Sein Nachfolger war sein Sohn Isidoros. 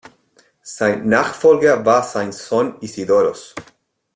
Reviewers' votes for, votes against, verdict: 2, 0, accepted